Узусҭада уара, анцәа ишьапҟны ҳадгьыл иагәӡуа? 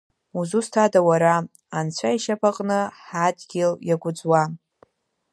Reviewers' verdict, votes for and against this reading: rejected, 1, 2